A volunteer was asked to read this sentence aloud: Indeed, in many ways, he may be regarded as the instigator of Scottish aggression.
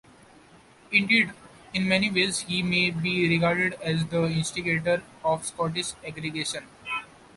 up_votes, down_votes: 1, 2